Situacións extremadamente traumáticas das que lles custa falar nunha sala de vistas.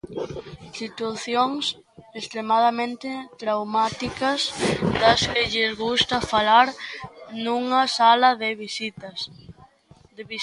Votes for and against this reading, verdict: 0, 2, rejected